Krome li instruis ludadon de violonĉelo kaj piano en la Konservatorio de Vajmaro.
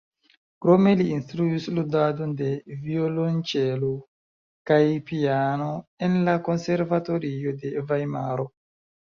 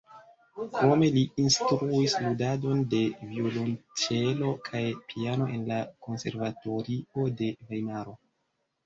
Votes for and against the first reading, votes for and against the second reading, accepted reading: 3, 0, 1, 2, first